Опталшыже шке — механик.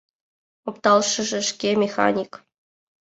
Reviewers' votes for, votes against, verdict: 2, 0, accepted